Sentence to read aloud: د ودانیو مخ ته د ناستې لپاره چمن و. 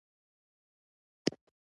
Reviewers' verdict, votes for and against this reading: rejected, 1, 2